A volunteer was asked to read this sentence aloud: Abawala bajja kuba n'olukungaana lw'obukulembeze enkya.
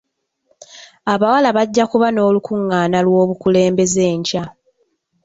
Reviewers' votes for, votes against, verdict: 2, 0, accepted